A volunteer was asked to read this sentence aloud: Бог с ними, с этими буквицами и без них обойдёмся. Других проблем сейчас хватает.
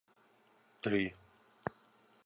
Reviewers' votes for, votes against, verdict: 0, 2, rejected